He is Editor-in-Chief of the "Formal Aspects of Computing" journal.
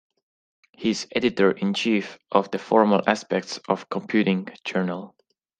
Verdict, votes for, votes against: accepted, 2, 0